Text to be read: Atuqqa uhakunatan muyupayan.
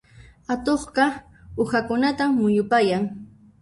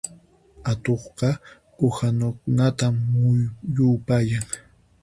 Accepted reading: first